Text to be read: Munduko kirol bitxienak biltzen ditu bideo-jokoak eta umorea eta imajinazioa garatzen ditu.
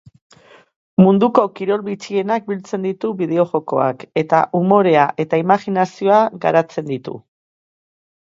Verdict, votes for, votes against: accepted, 2, 0